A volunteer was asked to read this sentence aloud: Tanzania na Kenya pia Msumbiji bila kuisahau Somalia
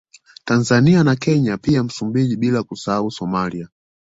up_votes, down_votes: 2, 0